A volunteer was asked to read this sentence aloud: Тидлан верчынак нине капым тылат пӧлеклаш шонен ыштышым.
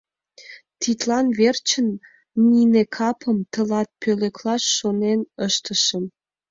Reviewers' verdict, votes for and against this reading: rejected, 1, 2